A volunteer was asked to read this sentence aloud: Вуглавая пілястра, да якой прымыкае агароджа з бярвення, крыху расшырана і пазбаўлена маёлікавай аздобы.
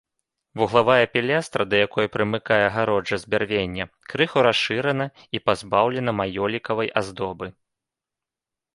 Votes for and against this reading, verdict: 2, 0, accepted